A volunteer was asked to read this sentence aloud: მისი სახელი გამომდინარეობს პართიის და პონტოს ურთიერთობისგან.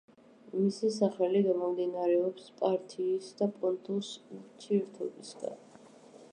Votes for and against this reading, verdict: 2, 0, accepted